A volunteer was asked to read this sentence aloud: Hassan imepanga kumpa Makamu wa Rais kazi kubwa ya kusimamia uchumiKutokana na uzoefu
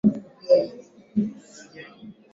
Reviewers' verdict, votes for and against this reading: rejected, 0, 2